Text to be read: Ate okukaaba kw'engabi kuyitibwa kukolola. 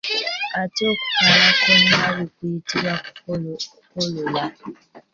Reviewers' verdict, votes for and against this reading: rejected, 0, 2